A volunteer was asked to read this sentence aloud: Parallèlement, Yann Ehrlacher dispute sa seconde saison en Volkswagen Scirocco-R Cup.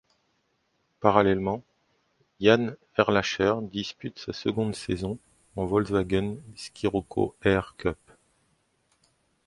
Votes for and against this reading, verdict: 2, 1, accepted